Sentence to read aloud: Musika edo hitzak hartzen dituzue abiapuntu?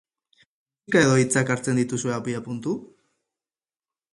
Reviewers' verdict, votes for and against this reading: rejected, 0, 4